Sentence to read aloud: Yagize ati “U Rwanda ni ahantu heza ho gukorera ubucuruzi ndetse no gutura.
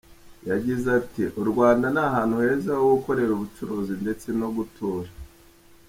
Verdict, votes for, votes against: accepted, 2, 0